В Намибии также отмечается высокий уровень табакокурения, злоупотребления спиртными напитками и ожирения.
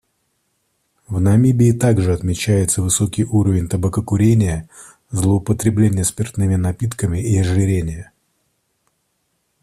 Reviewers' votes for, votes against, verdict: 2, 0, accepted